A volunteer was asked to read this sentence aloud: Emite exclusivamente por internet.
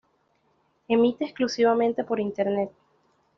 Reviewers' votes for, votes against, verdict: 2, 0, accepted